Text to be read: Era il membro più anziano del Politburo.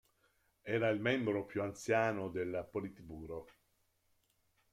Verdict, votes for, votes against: accepted, 2, 1